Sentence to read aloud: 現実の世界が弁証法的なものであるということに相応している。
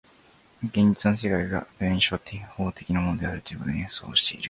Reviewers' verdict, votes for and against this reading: rejected, 1, 2